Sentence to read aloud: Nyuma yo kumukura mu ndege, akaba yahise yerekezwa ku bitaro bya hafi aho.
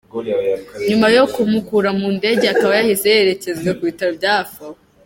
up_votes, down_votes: 1, 2